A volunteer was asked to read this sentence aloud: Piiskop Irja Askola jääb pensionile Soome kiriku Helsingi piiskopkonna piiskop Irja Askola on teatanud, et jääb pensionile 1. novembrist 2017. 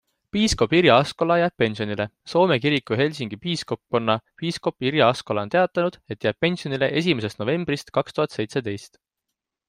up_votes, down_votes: 0, 2